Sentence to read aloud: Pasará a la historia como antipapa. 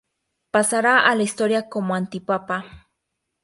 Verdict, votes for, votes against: accepted, 2, 0